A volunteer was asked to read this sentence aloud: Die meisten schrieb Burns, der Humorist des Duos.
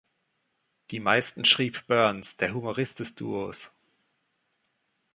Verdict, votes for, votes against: accepted, 2, 0